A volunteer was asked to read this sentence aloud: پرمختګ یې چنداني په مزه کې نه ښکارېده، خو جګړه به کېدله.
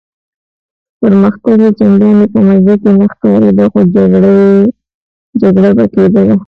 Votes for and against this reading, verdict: 2, 3, rejected